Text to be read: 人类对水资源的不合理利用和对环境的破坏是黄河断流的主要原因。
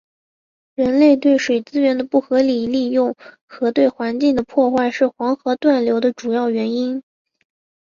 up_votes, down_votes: 4, 1